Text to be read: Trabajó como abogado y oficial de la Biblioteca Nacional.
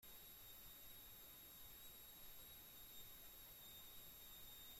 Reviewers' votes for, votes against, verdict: 1, 2, rejected